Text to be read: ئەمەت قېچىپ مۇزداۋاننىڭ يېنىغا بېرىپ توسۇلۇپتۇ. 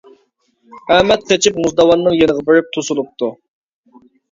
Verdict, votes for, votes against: accepted, 2, 0